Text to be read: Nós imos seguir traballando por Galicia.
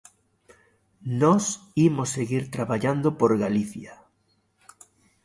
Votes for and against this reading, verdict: 2, 0, accepted